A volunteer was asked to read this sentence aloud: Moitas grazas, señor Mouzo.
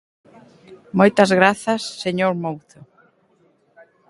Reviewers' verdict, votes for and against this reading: accepted, 2, 0